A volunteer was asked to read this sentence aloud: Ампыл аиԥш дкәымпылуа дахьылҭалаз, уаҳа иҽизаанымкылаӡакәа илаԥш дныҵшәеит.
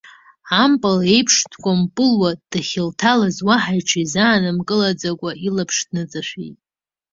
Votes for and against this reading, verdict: 2, 0, accepted